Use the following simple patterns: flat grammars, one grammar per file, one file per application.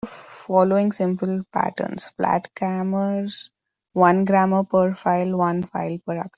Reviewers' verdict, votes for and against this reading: rejected, 0, 2